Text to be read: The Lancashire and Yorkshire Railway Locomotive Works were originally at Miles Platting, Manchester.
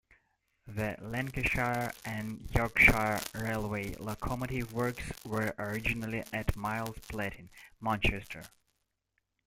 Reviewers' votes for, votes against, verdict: 1, 2, rejected